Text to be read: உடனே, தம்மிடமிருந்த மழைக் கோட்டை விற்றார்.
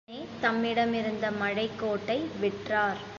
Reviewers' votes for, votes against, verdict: 1, 2, rejected